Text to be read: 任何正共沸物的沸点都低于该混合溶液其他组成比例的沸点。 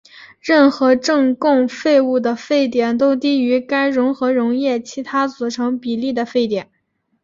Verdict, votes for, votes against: accepted, 2, 1